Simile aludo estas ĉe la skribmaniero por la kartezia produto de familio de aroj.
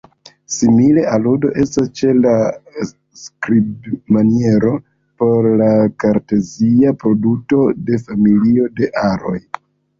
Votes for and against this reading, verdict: 1, 2, rejected